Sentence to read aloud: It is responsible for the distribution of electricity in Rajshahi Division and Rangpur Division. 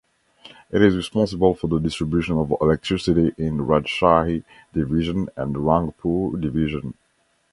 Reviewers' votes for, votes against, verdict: 2, 0, accepted